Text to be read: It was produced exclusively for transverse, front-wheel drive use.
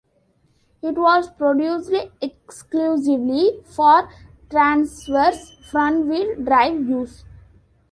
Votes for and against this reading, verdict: 2, 1, accepted